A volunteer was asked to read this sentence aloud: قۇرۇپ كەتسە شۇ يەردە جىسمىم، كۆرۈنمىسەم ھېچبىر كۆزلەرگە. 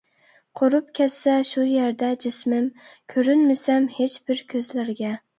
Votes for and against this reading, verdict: 2, 0, accepted